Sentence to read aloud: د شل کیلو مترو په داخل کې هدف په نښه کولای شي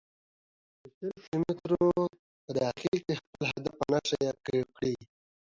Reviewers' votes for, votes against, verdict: 1, 2, rejected